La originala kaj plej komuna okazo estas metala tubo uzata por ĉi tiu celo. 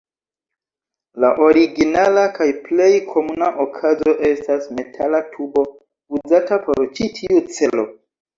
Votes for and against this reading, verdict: 0, 2, rejected